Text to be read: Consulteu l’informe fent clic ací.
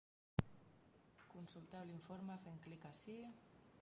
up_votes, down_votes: 0, 2